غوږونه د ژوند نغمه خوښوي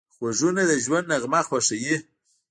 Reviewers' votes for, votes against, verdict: 1, 2, rejected